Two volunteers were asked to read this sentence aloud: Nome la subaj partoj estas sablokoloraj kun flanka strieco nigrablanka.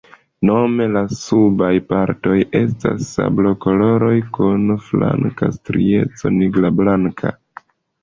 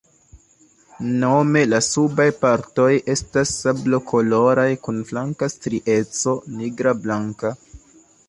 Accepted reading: second